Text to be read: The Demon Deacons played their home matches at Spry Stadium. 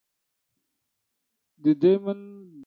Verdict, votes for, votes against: rejected, 0, 2